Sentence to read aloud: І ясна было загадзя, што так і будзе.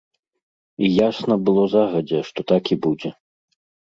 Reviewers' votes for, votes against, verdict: 2, 0, accepted